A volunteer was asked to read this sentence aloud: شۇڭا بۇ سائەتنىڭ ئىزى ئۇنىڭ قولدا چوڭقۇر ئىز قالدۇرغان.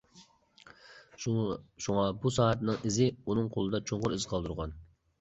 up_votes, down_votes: 0, 2